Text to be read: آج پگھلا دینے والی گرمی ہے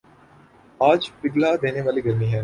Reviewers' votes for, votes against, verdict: 7, 0, accepted